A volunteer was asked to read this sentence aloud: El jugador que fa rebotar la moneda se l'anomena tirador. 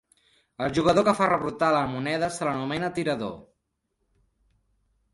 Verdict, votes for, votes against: rejected, 1, 2